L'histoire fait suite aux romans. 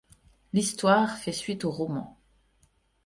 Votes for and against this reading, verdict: 2, 0, accepted